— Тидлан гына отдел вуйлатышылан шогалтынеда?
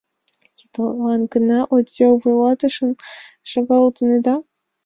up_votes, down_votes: 2, 0